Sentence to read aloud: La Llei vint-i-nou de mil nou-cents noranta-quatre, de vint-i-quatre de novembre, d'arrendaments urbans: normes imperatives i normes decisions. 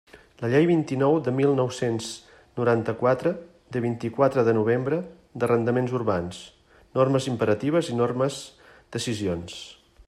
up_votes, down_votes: 2, 0